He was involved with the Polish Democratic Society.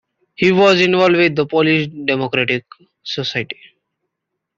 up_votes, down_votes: 2, 0